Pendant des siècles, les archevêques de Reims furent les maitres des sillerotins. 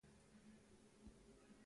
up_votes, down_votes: 0, 2